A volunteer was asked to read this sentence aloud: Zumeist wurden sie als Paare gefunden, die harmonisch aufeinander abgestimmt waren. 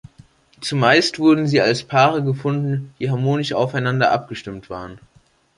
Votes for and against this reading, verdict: 2, 0, accepted